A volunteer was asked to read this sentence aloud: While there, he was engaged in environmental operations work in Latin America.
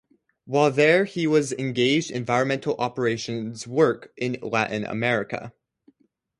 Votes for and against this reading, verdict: 4, 0, accepted